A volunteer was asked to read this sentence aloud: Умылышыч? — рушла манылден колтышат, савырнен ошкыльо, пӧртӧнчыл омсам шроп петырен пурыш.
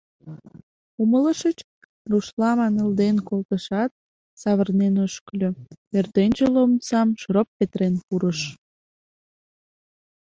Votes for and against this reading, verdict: 2, 0, accepted